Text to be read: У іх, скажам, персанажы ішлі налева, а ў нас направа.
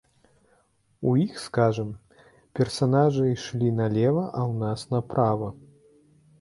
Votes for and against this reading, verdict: 2, 0, accepted